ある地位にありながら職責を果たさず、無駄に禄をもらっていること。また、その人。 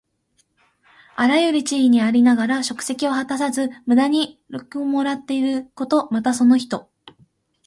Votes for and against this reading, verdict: 0, 2, rejected